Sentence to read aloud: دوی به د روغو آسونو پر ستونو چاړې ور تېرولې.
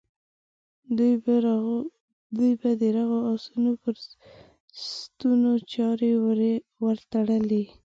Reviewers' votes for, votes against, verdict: 0, 2, rejected